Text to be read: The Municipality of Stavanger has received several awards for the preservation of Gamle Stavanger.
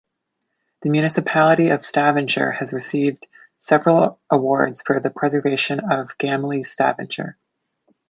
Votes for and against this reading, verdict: 0, 2, rejected